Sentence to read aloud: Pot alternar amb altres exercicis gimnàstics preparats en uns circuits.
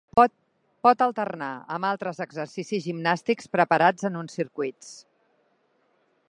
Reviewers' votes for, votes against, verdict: 0, 2, rejected